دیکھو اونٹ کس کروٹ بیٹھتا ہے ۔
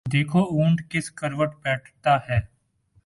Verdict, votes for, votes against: accepted, 10, 0